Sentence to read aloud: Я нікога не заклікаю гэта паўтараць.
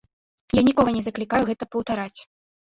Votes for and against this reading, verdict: 3, 1, accepted